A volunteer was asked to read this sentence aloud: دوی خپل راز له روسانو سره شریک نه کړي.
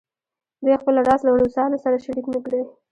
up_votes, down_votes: 2, 0